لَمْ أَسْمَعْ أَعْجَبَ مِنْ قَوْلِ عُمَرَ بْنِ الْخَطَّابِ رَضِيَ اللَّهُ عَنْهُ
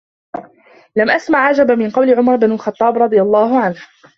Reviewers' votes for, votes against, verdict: 2, 1, accepted